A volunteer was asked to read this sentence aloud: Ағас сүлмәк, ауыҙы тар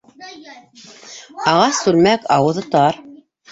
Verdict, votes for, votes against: rejected, 0, 2